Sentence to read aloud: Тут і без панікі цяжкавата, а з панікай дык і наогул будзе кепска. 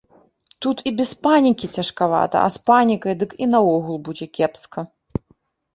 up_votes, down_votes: 2, 0